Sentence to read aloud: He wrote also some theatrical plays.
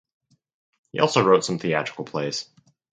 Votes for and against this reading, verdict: 2, 4, rejected